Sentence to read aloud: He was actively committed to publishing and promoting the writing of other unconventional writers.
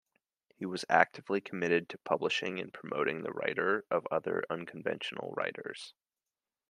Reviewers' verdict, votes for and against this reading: rejected, 0, 2